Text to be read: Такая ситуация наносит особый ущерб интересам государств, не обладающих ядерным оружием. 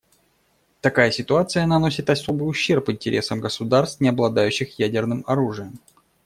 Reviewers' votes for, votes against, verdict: 2, 0, accepted